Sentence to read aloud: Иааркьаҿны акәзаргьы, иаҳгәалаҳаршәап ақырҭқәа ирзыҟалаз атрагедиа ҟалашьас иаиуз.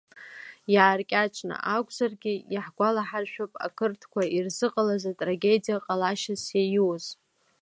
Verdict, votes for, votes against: accepted, 2, 0